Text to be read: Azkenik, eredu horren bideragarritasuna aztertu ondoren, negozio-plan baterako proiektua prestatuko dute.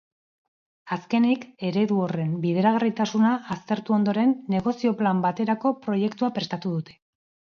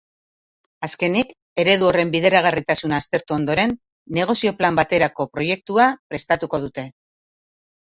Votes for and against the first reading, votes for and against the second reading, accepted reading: 0, 2, 3, 0, second